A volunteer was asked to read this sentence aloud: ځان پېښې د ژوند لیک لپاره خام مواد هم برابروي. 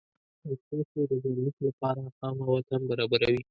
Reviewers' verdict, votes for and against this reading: rejected, 0, 2